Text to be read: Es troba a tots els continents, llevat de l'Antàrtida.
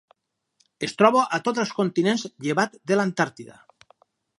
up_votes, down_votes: 4, 0